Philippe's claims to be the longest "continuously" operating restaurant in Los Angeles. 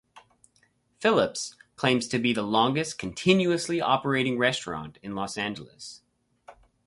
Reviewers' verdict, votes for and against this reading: rejected, 0, 2